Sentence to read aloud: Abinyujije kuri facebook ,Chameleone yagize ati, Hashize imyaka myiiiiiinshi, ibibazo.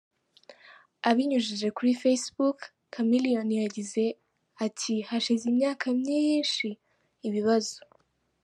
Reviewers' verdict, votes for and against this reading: accepted, 2, 0